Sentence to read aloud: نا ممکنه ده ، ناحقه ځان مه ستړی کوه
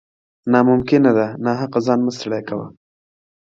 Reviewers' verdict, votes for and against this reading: accepted, 2, 0